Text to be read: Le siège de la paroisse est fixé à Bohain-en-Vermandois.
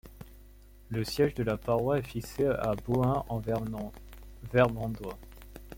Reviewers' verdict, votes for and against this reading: rejected, 0, 2